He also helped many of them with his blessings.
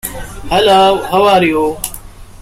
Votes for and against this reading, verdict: 1, 2, rejected